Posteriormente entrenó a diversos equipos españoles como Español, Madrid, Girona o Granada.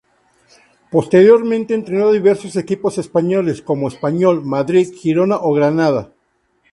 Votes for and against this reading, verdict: 2, 0, accepted